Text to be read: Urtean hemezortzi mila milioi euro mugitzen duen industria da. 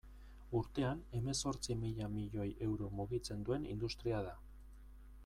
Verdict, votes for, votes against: accepted, 2, 0